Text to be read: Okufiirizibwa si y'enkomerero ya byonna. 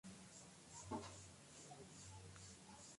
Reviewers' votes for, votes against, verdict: 1, 2, rejected